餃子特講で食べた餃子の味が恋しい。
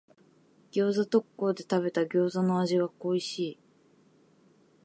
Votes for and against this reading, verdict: 2, 0, accepted